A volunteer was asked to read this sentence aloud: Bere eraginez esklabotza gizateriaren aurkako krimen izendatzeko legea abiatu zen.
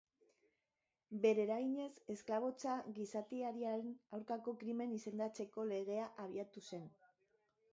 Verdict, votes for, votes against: rejected, 0, 2